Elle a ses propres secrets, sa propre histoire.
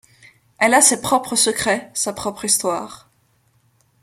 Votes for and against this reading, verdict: 2, 0, accepted